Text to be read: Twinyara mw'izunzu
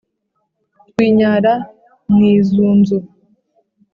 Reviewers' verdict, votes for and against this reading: rejected, 0, 2